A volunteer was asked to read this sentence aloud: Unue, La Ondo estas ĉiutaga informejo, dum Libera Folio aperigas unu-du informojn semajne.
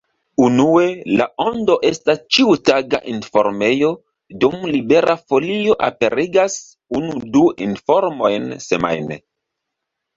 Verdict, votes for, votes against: accepted, 2, 0